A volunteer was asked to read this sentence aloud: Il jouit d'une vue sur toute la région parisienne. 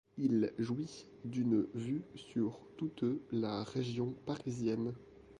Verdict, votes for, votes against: rejected, 0, 2